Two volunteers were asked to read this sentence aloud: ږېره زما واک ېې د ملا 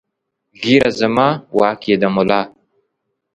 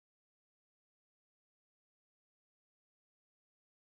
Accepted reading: first